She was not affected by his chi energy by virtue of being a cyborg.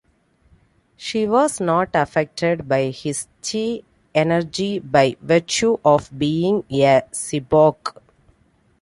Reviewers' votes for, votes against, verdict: 2, 1, accepted